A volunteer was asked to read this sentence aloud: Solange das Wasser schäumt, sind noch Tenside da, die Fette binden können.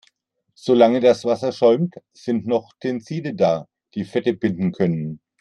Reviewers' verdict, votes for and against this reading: accepted, 2, 0